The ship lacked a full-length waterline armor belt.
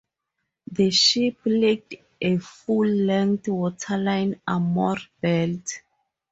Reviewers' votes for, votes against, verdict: 2, 0, accepted